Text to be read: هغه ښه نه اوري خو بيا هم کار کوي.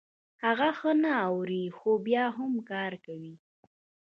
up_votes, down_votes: 0, 2